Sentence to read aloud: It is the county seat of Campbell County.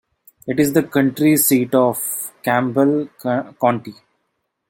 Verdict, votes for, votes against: accepted, 2, 1